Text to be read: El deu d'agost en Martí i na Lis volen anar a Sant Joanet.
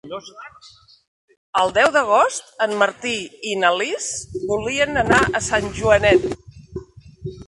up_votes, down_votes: 0, 3